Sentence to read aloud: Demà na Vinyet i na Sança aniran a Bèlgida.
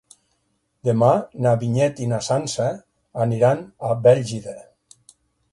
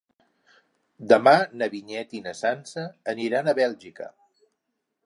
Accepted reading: first